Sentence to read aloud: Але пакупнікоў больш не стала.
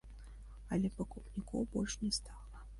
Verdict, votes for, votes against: accepted, 2, 0